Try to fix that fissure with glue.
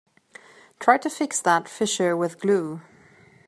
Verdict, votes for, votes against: accepted, 2, 0